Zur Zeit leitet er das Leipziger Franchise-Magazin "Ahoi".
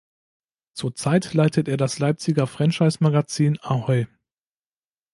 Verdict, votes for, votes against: accepted, 2, 0